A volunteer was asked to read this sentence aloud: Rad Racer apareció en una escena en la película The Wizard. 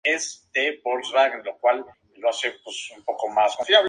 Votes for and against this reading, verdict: 0, 2, rejected